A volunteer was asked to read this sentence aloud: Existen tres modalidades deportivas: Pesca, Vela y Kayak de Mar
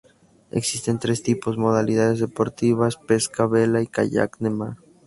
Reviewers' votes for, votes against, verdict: 4, 2, accepted